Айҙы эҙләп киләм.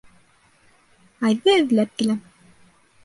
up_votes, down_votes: 2, 0